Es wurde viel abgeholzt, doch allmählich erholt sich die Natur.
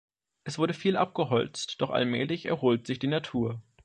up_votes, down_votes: 3, 0